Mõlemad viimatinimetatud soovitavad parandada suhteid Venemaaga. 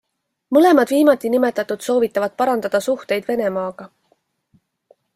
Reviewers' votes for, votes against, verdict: 2, 0, accepted